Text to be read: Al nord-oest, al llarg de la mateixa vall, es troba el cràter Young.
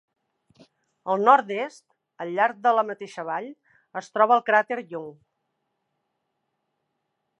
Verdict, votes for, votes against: rejected, 0, 2